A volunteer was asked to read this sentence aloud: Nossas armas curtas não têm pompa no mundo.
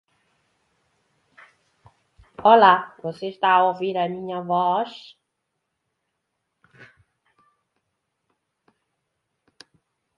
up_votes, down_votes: 0, 2